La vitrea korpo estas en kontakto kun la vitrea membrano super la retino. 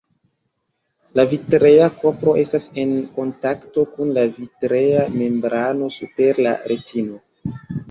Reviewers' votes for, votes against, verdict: 2, 0, accepted